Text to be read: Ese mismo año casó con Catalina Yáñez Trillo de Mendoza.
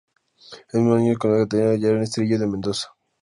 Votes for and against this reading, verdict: 0, 2, rejected